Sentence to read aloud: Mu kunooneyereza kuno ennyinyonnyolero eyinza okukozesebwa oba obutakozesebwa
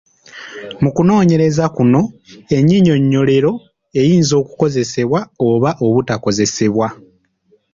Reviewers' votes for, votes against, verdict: 2, 0, accepted